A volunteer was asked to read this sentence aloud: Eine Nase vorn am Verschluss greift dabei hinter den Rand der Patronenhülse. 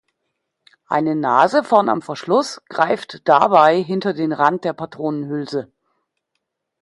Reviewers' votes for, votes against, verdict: 2, 0, accepted